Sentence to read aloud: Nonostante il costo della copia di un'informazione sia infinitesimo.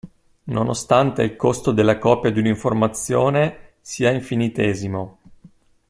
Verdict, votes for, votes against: accepted, 2, 0